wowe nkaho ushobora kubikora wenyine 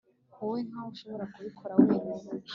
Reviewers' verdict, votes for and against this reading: accepted, 2, 0